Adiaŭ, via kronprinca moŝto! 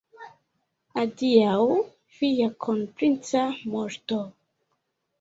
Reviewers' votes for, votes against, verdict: 1, 2, rejected